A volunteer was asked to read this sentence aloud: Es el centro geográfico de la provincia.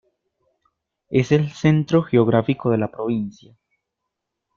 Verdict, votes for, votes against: accepted, 2, 0